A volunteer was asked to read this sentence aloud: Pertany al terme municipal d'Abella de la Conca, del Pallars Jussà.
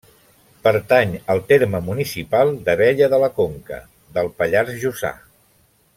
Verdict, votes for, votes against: accepted, 2, 0